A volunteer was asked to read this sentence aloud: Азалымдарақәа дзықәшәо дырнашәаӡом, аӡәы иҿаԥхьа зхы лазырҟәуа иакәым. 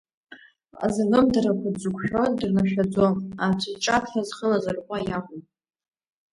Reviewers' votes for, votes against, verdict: 1, 2, rejected